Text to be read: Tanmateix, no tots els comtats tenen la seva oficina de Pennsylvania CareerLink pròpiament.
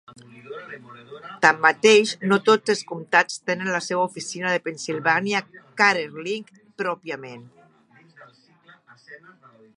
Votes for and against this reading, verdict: 1, 2, rejected